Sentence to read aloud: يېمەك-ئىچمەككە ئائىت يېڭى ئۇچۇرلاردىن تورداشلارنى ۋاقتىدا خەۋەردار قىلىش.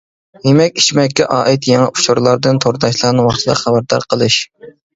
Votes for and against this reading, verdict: 2, 0, accepted